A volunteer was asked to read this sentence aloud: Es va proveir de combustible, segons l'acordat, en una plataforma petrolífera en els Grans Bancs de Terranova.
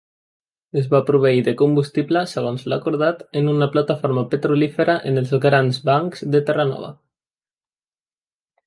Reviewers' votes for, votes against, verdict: 3, 0, accepted